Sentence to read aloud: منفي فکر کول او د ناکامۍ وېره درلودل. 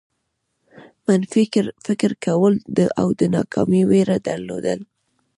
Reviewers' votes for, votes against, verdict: 2, 0, accepted